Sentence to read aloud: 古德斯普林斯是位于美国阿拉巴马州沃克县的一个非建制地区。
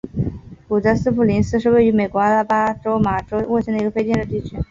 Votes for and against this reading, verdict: 3, 1, accepted